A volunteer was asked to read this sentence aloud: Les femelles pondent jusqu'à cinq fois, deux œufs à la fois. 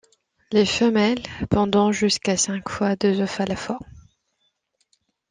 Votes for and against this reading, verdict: 1, 2, rejected